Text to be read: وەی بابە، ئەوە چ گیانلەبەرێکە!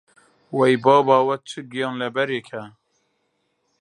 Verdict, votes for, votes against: accepted, 2, 0